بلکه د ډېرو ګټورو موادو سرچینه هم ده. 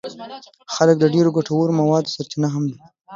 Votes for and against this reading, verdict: 2, 1, accepted